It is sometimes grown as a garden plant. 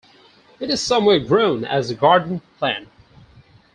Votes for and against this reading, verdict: 0, 4, rejected